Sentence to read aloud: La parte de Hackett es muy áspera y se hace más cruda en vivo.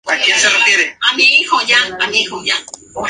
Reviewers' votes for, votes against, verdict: 0, 2, rejected